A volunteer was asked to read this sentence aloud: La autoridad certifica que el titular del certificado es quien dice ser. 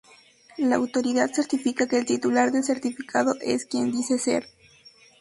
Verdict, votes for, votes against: accepted, 2, 0